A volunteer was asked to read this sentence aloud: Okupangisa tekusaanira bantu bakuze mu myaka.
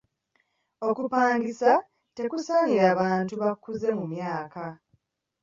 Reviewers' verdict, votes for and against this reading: accepted, 2, 1